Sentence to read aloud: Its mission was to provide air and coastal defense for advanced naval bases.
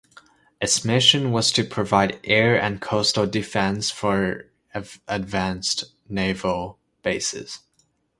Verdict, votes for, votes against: rejected, 1, 2